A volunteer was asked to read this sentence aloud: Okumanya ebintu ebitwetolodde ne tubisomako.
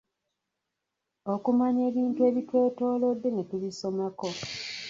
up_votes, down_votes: 1, 2